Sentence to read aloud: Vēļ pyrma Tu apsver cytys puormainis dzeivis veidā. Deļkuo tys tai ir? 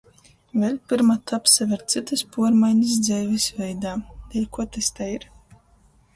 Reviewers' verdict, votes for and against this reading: rejected, 0, 2